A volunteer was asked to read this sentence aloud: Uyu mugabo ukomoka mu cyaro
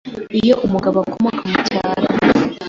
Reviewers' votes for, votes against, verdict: 1, 2, rejected